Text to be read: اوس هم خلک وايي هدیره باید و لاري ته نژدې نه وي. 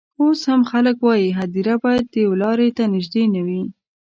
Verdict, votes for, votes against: accepted, 2, 1